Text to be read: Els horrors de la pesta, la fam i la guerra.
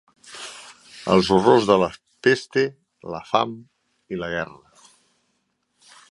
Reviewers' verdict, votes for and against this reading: rejected, 0, 2